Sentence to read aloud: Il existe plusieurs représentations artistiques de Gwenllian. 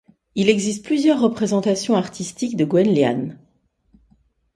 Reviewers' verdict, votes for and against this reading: accepted, 2, 0